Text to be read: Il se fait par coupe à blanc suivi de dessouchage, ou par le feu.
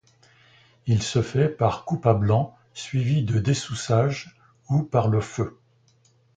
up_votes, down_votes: 1, 2